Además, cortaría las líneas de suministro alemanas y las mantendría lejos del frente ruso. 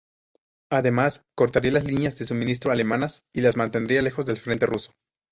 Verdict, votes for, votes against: accepted, 2, 0